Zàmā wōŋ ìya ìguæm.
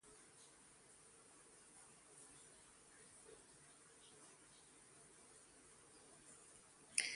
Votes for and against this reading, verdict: 0, 2, rejected